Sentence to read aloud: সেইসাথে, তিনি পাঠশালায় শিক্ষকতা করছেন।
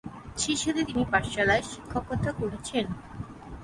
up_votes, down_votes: 3, 6